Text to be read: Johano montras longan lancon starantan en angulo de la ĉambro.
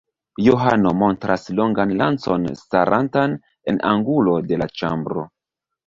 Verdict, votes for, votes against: accepted, 2, 0